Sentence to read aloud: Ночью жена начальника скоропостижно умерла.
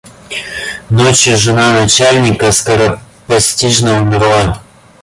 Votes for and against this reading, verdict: 0, 2, rejected